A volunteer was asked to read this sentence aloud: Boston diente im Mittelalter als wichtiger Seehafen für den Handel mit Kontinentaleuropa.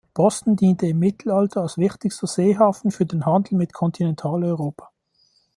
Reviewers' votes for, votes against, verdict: 0, 2, rejected